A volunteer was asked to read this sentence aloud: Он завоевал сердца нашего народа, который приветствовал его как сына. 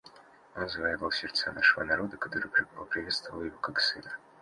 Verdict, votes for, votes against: rejected, 0, 2